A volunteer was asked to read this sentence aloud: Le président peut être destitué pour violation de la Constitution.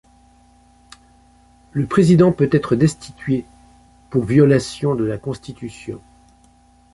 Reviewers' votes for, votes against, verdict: 2, 0, accepted